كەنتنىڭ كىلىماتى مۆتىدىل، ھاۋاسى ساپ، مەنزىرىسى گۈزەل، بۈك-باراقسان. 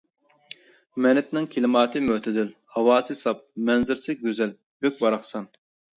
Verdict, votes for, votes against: rejected, 0, 2